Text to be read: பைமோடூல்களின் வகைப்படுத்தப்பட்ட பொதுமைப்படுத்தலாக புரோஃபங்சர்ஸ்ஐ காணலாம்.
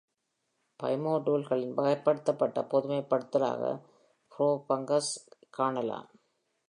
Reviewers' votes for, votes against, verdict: 0, 2, rejected